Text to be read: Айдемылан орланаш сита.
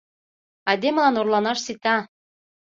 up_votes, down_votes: 2, 0